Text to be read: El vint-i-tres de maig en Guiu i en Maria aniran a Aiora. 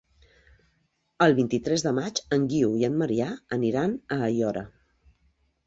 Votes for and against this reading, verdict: 0, 3, rejected